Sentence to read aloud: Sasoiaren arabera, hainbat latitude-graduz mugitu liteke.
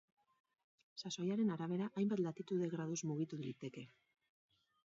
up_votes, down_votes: 2, 2